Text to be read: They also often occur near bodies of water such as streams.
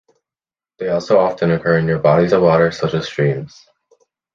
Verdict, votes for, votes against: accepted, 3, 0